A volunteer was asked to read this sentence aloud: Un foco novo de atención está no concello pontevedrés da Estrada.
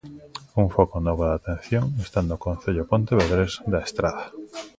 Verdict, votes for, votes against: rejected, 1, 2